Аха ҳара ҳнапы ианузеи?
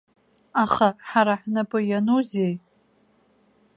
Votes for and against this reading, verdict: 2, 0, accepted